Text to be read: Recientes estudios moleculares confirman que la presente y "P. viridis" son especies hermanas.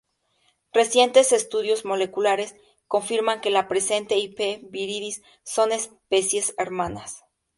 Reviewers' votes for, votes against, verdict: 2, 0, accepted